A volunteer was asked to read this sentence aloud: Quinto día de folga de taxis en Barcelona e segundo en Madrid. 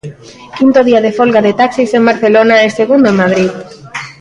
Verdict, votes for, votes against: accepted, 2, 0